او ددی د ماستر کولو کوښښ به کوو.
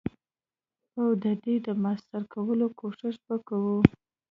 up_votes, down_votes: 2, 0